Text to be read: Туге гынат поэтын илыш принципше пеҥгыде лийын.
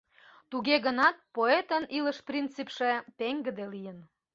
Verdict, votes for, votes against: accepted, 2, 0